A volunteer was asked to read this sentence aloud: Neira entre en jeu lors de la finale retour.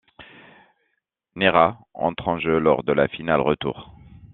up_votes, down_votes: 2, 0